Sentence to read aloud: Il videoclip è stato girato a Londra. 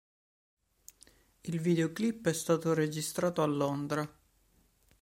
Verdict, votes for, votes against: rejected, 0, 2